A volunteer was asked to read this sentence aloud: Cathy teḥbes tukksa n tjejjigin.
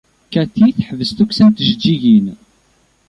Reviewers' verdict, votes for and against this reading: accepted, 2, 0